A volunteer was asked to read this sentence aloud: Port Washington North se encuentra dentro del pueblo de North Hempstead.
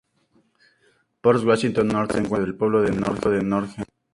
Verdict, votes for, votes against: rejected, 2, 2